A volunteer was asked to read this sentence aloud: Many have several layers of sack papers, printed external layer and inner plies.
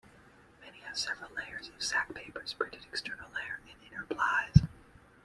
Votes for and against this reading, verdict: 1, 2, rejected